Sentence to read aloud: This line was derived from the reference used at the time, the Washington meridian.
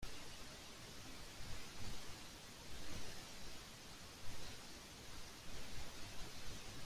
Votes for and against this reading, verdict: 1, 2, rejected